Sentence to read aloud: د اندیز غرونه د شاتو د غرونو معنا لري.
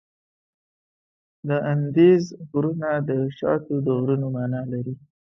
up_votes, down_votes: 2, 0